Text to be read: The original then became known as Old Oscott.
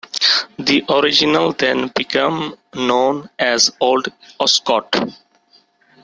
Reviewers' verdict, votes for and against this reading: accepted, 2, 0